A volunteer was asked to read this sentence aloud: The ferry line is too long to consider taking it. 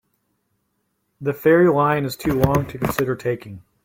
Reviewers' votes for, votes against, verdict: 0, 2, rejected